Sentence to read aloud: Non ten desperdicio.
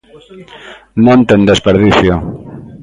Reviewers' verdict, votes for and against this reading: rejected, 1, 2